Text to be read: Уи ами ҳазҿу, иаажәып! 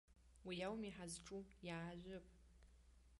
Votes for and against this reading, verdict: 1, 2, rejected